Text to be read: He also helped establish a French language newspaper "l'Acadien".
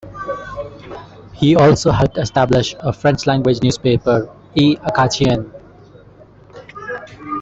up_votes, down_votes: 2, 0